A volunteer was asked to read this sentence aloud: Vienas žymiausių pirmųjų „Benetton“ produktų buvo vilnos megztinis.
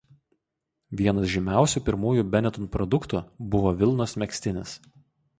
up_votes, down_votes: 4, 0